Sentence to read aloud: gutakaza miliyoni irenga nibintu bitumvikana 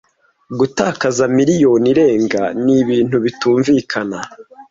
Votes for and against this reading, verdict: 2, 0, accepted